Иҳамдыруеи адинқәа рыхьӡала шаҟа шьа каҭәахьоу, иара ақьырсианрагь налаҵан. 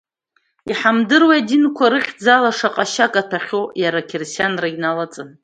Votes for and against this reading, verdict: 0, 2, rejected